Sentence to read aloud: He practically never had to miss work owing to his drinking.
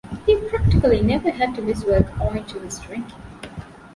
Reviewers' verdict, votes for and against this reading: accepted, 3, 0